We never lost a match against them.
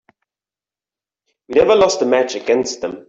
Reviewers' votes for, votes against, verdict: 2, 0, accepted